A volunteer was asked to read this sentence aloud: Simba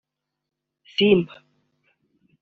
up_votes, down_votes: 2, 1